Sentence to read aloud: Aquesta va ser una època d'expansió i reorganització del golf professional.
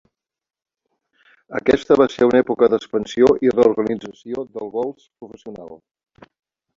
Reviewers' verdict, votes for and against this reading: rejected, 1, 2